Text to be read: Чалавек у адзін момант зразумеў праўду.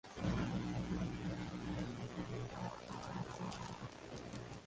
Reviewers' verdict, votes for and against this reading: rejected, 0, 3